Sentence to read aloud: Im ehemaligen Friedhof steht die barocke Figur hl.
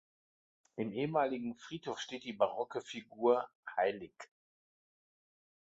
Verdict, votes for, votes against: accepted, 2, 1